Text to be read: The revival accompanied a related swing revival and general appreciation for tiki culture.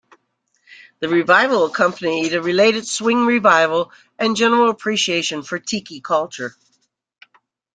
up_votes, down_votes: 2, 0